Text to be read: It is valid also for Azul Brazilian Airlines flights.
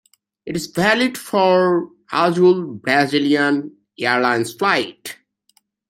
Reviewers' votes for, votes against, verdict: 1, 2, rejected